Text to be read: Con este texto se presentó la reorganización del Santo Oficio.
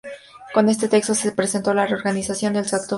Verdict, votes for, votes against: rejected, 0, 4